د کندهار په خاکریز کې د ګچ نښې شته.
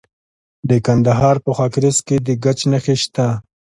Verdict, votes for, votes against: accepted, 2, 0